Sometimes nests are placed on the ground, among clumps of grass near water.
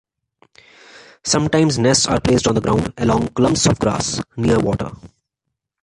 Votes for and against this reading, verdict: 3, 1, accepted